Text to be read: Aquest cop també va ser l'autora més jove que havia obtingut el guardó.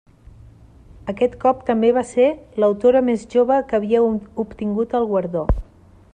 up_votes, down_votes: 1, 2